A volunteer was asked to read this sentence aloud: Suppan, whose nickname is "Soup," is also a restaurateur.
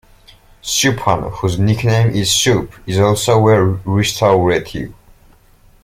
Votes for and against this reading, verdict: 1, 2, rejected